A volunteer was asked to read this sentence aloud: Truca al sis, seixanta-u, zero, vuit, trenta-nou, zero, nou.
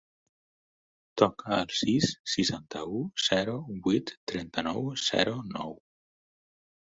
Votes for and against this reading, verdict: 0, 4, rejected